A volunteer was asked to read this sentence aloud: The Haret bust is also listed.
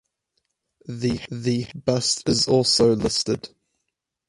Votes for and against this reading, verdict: 0, 4, rejected